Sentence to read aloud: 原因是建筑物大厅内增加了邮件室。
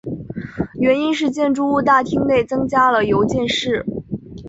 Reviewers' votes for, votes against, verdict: 4, 0, accepted